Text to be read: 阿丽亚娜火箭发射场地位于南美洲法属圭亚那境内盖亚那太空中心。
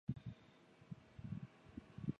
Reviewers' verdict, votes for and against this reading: rejected, 0, 2